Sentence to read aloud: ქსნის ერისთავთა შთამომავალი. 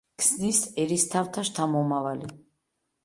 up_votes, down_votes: 2, 0